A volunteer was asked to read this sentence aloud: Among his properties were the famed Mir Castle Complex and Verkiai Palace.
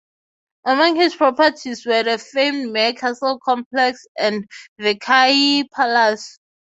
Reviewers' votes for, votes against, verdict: 3, 3, rejected